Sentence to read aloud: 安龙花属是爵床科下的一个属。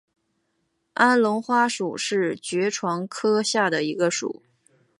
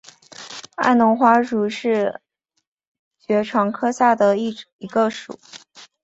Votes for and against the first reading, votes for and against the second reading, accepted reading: 2, 0, 0, 2, first